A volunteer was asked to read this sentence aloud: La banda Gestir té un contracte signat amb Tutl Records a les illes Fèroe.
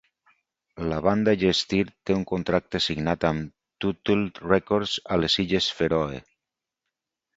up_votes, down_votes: 2, 2